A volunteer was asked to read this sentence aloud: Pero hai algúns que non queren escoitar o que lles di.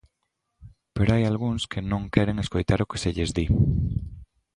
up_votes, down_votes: 1, 2